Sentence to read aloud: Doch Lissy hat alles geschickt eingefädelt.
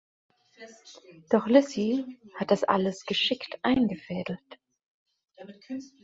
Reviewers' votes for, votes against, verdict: 1, 2, rejected